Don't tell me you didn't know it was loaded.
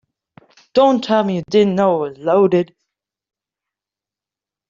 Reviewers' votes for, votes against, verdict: 0, 2, rejected